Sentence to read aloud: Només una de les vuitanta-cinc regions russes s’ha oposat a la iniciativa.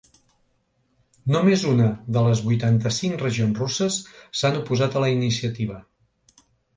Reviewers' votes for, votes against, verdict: 1, 2, rejected